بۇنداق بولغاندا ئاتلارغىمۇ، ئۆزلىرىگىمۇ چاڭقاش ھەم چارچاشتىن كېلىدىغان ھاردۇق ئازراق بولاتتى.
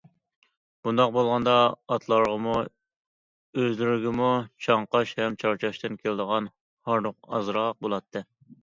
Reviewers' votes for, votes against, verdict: 2, 0, accepted